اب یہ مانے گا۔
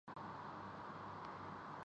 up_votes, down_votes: 0, 3